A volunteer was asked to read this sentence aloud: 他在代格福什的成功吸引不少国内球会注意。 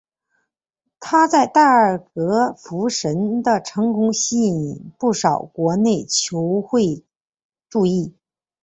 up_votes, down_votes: 1, 2